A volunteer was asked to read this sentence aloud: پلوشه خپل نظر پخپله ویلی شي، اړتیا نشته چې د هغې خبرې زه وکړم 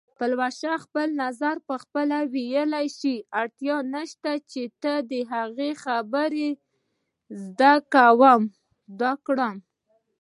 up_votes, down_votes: 1, 2